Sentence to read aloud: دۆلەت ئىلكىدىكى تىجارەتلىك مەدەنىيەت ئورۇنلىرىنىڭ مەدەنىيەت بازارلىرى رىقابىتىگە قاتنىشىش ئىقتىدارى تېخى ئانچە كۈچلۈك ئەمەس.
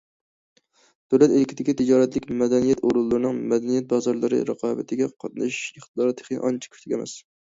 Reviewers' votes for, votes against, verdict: 2, 0, accepted